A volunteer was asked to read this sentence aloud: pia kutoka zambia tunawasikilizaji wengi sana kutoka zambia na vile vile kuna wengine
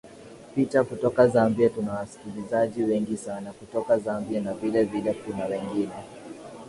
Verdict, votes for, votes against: rejected, 0, 2